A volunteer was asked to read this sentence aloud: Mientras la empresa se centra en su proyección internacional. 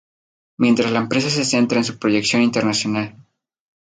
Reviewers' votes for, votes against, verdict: 2, 0, accepted